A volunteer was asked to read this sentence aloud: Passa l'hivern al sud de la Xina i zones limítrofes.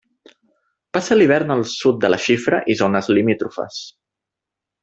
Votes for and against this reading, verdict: 1, 2, rejected